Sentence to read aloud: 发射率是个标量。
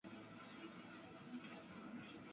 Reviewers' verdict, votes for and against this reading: rejected, 0, 2